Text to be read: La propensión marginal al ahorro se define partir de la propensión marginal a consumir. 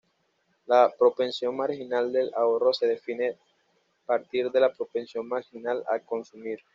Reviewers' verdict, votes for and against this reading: rejected, 1, 2